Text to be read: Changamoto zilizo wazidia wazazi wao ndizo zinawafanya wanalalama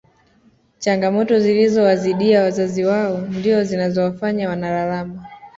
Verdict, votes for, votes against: accepted, 2, 0